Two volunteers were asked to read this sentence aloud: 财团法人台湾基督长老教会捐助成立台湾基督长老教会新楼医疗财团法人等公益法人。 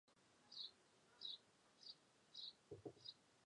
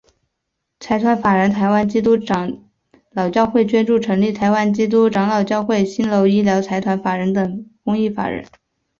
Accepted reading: second